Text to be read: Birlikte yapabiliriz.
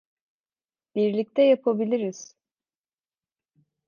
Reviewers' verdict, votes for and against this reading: accepted, 2, 0